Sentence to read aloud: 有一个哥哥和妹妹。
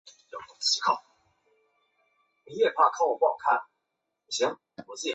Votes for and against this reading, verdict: 0, 2, rejected